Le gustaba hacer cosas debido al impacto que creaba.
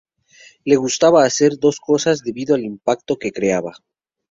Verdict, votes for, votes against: rejected, 2, 2